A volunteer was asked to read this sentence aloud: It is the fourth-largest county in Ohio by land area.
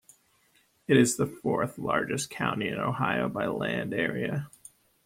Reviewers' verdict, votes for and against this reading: rejected, 1, 3